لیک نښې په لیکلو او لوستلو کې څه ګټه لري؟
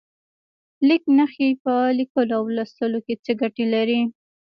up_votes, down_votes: 0, 2